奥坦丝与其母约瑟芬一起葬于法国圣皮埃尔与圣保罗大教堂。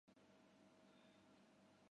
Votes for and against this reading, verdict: 0, 5, rejected